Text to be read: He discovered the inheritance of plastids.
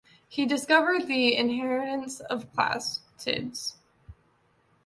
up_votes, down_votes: 1, 2